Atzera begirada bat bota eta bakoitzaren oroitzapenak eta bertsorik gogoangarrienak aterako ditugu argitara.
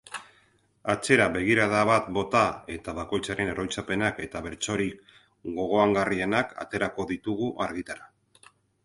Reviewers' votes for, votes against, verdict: 4, 0, accepted